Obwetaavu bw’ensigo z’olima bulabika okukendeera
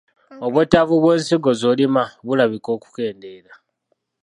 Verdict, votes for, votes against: rejected, 1, 2